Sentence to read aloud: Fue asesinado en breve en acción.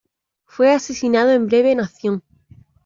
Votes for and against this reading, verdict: 1, 2, rejected